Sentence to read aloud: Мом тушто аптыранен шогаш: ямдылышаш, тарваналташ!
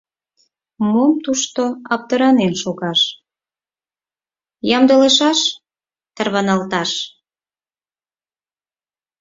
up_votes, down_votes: 6, 0